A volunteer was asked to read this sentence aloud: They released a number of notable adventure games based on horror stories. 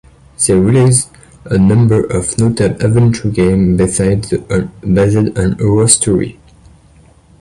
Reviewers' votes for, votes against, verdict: 1, 2, rejected